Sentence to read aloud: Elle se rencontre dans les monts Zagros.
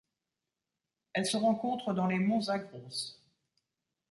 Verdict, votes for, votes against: rejected, 0, 2